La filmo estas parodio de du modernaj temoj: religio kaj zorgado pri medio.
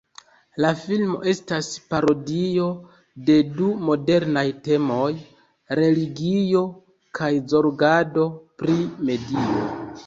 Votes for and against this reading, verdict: 0, 2, rejected